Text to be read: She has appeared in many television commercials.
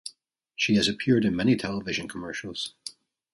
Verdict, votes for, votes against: accepted, 2, 0